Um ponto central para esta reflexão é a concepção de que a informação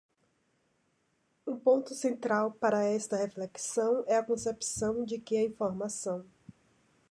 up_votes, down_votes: 3, 0